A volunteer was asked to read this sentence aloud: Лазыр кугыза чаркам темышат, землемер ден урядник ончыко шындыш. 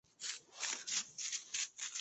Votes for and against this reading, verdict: 0, 2, rejected